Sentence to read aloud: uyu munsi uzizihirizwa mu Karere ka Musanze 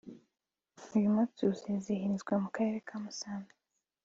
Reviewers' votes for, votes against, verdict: 3, 0, accepted